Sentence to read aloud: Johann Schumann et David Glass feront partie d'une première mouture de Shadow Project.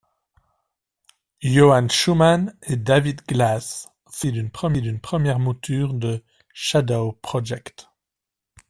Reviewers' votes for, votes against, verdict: 0, 2, rejected